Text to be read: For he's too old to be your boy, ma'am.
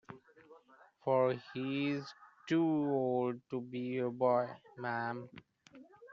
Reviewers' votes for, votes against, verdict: 1, 2, rejected